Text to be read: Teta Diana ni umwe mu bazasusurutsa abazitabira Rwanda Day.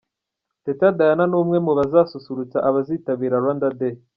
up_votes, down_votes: 2, 0